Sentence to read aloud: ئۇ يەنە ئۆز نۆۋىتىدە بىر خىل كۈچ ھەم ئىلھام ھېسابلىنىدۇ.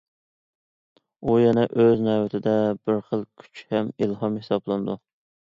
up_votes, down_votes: 2, 0